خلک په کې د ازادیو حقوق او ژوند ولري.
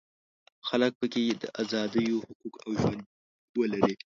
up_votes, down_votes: 1, 2